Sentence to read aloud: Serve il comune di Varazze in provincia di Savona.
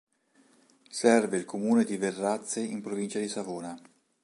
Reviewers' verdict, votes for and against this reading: rejected, 1, 2